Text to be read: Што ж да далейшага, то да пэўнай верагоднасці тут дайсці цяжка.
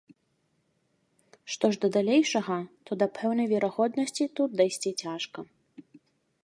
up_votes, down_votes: 5, 0